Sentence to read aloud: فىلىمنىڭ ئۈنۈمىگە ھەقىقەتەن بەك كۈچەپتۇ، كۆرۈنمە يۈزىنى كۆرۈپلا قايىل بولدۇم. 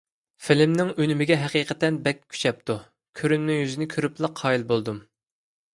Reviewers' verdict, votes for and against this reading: accepted, 2, 0